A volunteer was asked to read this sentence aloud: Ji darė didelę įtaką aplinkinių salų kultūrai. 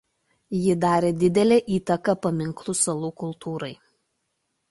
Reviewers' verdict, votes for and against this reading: rejected, 0, 2